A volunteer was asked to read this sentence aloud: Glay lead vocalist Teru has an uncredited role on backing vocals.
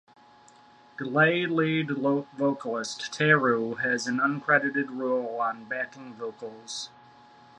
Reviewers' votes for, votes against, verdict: 1, 2, rejected